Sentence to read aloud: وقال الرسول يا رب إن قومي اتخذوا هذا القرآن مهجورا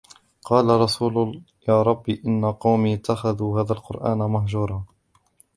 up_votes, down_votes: 1, 2